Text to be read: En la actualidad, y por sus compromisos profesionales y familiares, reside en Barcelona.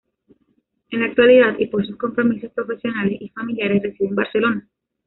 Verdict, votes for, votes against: accepted, 2, 1